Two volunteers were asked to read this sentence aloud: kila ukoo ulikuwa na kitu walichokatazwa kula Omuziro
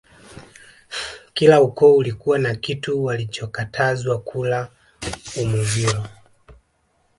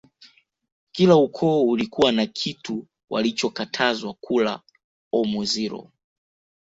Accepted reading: second